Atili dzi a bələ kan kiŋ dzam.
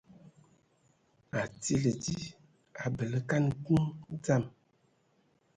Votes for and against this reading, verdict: 1, 2, rejected